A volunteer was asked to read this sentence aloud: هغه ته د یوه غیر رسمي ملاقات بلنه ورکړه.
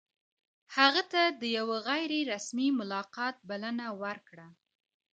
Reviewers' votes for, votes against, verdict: 0, 2, rejected